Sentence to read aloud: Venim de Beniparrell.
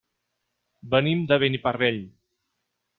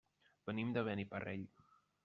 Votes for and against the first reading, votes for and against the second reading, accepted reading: 6, 0, 1, 2, first